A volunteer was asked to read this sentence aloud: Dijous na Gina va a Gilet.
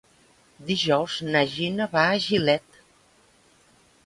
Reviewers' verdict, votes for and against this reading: accepted, 3, 0